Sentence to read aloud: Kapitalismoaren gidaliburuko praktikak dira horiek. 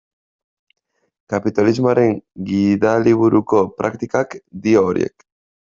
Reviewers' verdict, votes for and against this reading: rejected, 0, 2